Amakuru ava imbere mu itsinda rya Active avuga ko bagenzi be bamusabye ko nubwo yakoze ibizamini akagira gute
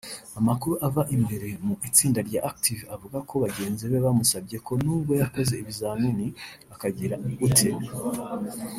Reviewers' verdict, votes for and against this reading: rejected, 0, 2